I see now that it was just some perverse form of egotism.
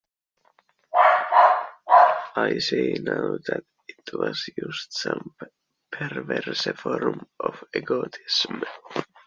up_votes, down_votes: 1, 2